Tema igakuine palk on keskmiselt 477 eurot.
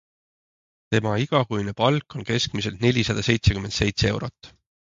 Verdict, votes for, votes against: rejected, 0, 2